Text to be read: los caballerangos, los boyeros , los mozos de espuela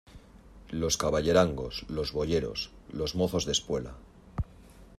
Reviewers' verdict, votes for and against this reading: accepted, 2, 0